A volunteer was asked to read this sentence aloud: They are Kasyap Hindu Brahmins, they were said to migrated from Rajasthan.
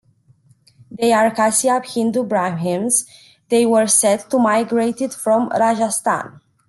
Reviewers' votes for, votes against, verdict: 1, 2, rejected